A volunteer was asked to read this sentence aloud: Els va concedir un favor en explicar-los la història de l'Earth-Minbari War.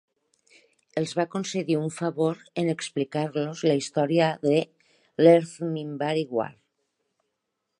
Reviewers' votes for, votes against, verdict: 5, 1, accepted